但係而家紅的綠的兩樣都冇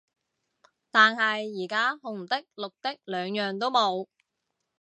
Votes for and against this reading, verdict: 2, 0, accepted